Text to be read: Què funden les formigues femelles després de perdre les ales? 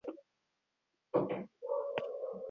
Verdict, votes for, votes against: rejected, 2, 4